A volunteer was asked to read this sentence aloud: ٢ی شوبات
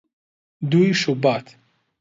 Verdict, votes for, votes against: rejected, 0, 2